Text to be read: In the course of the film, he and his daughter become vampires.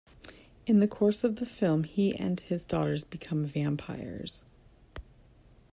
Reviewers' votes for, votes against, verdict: 1, 2, rejected